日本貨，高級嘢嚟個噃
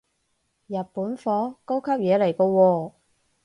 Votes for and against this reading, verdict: 2, 4, rejected